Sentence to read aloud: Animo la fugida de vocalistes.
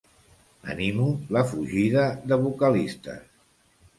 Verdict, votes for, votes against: accepted, 2, 0